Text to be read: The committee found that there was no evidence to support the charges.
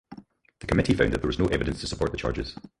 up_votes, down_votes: 0, 4